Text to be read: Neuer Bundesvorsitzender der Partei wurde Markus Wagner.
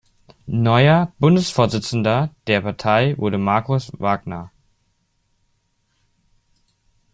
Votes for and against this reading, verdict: 2, 0, accepted